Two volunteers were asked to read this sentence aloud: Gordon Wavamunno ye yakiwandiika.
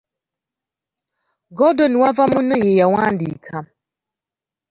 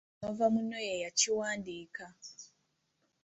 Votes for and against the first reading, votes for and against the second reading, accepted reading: 2, 1, 0, 2, first